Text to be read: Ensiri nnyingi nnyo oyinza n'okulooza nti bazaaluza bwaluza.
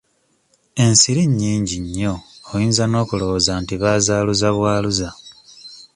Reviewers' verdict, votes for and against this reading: accepted, 2, 1